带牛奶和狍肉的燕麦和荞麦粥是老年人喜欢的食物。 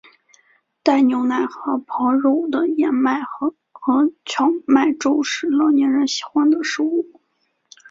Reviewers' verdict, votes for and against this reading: rejected, 0, 3